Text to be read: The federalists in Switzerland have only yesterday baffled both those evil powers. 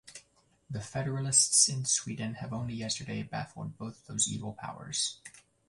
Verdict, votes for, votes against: rejected, 0, 2